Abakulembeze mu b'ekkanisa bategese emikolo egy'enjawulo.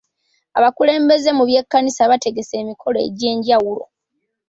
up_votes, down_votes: 0, 2